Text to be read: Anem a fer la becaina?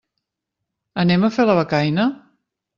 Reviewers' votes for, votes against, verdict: 2, 0, accepted